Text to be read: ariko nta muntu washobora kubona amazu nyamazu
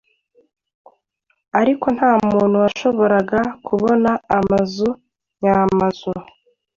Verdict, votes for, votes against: rejected, 1, 2